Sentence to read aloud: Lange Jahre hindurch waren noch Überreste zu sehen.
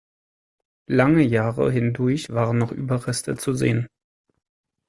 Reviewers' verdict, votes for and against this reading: accepted, 2, 0